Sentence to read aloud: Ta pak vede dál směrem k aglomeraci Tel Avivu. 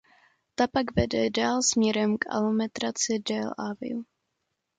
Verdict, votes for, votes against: rejected, 0, 2